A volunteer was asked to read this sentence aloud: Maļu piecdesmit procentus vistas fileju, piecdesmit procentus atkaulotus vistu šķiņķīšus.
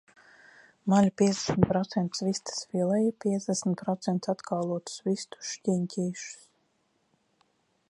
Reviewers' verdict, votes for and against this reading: accepted, 2, 0